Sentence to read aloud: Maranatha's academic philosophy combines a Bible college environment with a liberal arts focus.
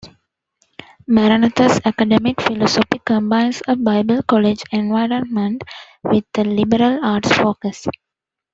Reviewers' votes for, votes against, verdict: 2, 0, accepted